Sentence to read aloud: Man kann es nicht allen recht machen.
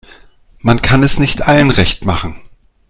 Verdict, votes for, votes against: accepted, 2, 1